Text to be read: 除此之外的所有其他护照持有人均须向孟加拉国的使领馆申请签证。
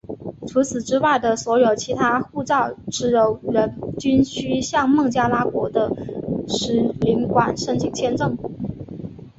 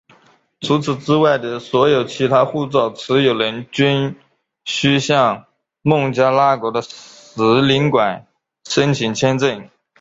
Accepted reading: first